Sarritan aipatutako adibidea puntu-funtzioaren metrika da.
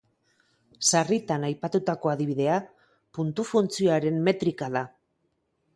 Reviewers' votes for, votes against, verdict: 2, 0, accepted